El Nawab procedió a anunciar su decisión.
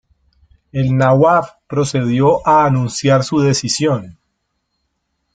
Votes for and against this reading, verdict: 2, 0, accepted